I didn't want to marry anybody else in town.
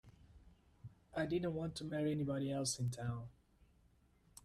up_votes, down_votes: 2, 0